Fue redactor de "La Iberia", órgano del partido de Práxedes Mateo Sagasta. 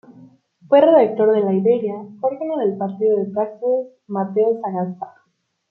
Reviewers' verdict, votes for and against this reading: accepted, 2, 1